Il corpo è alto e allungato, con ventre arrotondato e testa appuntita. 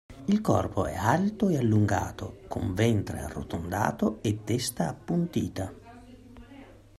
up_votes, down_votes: 2, 0